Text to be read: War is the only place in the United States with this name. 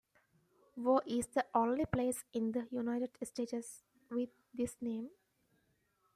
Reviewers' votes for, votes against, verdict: 1, 2, rejected